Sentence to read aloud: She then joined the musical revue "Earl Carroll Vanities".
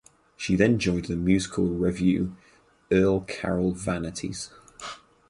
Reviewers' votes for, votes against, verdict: 4, 0, accepted